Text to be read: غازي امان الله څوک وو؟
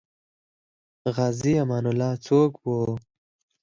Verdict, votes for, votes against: rejected, 2, 4